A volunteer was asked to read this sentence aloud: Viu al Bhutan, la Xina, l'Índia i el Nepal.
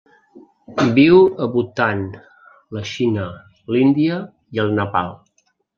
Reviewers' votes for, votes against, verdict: 0, 2, rejected